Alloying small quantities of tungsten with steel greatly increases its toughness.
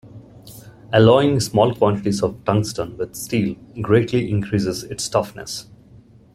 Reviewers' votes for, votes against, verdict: 2, 0, accepted